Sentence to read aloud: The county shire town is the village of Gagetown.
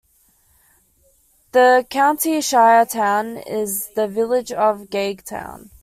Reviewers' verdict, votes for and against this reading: accepted, 2, 0